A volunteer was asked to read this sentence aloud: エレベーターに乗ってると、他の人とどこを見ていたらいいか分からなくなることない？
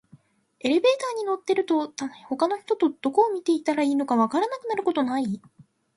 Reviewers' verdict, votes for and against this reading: accepted, 2, 0